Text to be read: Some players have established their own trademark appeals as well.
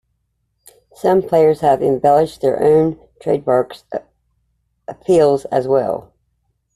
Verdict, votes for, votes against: rejected, 0, 2